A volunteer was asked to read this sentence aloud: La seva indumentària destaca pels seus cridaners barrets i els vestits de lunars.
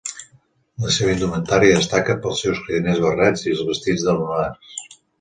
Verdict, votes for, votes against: accepted, 2, 1